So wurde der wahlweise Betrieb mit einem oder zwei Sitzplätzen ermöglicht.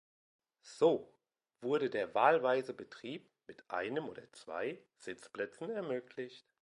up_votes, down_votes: 2, 0